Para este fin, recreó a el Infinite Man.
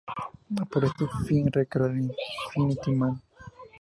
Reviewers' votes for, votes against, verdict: 0, 2, rejected